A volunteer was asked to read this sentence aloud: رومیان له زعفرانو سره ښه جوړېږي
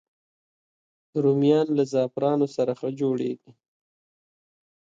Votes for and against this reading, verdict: 2, 1, accepted